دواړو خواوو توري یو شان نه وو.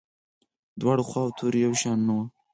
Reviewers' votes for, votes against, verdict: 4, 0, accepted